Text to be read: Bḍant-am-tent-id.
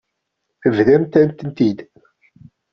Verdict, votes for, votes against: rejected, 0, 2